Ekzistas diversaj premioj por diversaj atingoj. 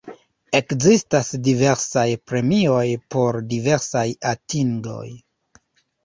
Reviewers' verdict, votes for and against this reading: rejected, 0, 2